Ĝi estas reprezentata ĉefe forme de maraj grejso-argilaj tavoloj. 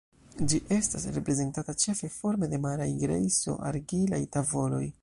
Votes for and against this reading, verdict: 2, 0, accepted